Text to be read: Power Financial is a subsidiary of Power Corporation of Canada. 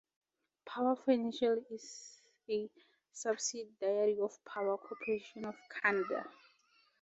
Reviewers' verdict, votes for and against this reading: accepted, 4, 0